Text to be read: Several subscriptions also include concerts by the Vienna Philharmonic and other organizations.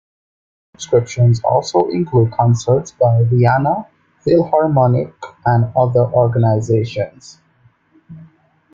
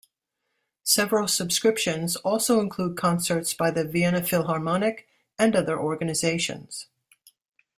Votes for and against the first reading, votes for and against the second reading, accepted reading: 1, 2, 2, 0, second